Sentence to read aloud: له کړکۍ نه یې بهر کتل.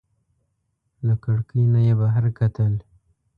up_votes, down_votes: 2, 0